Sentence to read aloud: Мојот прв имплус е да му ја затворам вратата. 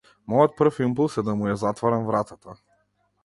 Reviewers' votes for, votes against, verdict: 2, 0, accepted